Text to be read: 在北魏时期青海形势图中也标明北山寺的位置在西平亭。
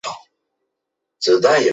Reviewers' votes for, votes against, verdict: 0, 2, rejected